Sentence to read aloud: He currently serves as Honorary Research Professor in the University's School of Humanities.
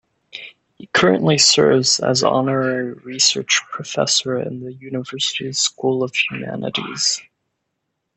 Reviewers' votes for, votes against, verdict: 2, 0, accepted